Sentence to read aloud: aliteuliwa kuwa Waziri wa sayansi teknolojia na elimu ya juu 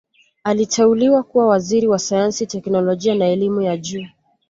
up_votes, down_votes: 2, 0